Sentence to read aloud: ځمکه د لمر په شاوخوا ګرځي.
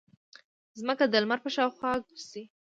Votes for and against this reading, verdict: 1, 2, rejected